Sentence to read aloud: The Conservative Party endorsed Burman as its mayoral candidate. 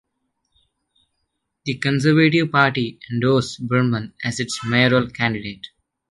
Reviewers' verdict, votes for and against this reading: accepted, 2, 0